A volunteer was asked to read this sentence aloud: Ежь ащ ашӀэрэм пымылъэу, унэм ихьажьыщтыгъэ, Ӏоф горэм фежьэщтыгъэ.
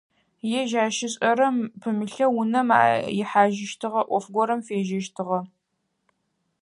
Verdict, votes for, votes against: rejected, 0, 4